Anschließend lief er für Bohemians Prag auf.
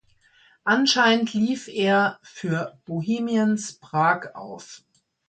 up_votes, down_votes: 1, 2